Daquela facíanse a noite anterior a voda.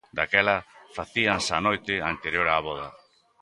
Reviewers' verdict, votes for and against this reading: accepted, 2, 0